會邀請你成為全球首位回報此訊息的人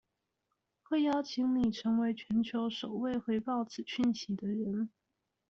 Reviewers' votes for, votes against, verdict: 2, 0, accepted